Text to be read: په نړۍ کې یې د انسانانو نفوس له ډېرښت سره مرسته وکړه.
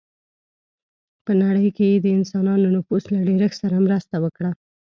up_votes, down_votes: 2, 0